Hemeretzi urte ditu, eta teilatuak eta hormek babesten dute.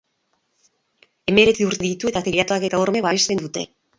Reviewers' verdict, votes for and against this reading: rejected, 0, 2